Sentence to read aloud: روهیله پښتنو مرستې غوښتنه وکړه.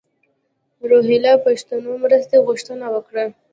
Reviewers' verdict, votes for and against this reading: accepted, 2, 0